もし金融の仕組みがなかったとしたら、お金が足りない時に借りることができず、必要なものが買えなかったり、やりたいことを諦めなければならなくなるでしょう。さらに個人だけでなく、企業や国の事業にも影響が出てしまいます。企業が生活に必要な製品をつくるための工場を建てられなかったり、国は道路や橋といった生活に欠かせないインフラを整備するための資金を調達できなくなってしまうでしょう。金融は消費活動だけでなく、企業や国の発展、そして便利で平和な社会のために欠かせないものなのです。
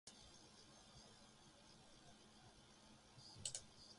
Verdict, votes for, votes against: rejected, 1, 2